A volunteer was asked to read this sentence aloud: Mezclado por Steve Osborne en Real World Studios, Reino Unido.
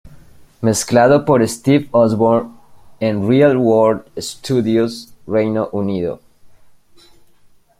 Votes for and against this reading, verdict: 0, 2, rejected